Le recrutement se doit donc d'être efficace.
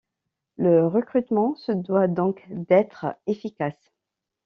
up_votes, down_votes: 2, 0